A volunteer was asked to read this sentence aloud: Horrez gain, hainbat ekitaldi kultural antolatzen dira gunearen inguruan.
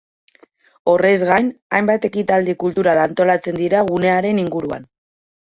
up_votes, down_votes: 2, 0